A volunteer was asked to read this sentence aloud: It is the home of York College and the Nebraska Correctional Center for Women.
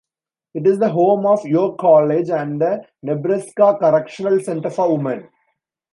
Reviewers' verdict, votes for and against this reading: rejected, 1, 2